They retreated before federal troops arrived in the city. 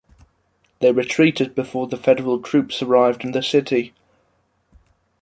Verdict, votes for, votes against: accepted, 2, 1